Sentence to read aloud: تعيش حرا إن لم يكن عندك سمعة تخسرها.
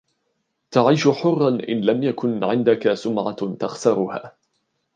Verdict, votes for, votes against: accepted, 2, 0